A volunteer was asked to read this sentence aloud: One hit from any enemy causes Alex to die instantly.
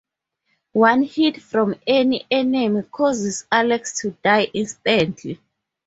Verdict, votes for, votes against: accepted, 2, 0